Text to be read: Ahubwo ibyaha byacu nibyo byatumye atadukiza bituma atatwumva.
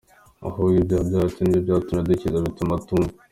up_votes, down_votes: 2, 1